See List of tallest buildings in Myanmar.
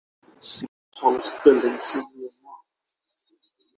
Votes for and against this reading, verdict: 0, 6, rejected